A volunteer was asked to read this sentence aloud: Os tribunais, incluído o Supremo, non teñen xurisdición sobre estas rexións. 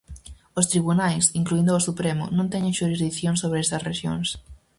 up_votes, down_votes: 2, 2